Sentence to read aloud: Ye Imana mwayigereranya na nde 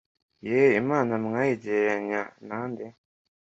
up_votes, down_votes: 2, 1